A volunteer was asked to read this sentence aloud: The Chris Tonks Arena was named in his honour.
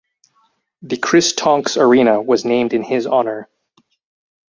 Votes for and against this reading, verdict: 2, 2, rejected